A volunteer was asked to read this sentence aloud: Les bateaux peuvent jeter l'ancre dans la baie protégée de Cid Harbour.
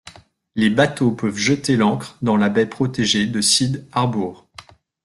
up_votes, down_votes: 2, 0